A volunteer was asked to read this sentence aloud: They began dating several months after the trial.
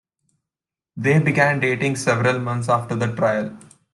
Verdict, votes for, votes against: accepted, 2, 0